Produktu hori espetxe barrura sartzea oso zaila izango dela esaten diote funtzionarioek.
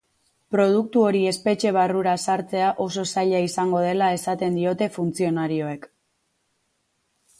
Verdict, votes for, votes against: accepted, 6, 0